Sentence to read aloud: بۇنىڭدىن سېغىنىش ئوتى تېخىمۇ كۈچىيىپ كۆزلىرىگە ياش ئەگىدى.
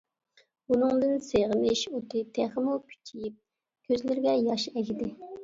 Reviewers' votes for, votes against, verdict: 2, 0, accepted